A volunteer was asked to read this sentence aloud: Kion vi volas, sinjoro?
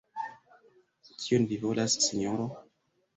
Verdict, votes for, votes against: rejected, 1, 2